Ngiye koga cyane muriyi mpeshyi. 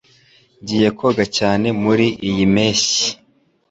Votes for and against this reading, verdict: 2, 0, accepted